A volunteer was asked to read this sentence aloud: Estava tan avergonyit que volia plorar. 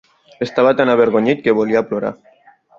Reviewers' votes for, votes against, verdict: 3, 0, accepted